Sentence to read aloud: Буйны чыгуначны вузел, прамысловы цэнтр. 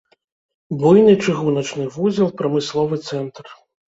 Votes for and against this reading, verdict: 1, 2, rejected